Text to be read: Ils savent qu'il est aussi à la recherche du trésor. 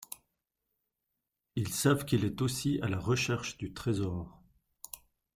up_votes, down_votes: 2, 0